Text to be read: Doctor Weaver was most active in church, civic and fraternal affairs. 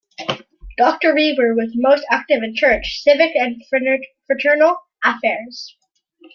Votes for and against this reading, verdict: 0, 2, rejected